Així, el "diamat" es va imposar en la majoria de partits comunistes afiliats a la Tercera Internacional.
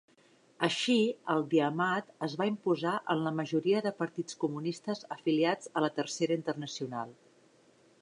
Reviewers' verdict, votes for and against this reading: accepted, 3, 0